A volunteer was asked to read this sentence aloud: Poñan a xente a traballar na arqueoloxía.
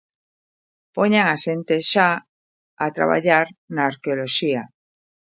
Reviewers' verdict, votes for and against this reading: rejected, 0, 2